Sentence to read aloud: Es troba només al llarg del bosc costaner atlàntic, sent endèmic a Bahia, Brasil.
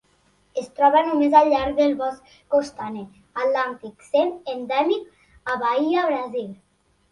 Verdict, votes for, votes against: accepted, 2, 0